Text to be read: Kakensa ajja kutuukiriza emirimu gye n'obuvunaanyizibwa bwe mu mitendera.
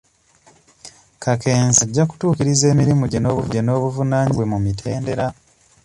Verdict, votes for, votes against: rejected, 0, 2